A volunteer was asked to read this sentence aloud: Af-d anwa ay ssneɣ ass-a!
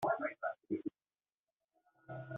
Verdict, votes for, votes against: rejected, 0, 2